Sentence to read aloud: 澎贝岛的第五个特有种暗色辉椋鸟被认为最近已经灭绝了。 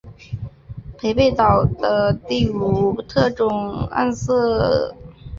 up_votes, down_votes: 0, 2